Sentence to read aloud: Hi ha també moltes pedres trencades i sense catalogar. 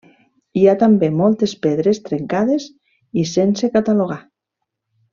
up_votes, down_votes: 1, 2